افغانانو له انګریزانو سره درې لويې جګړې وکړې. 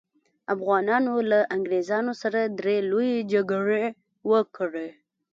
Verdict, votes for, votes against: accepted, 4, 0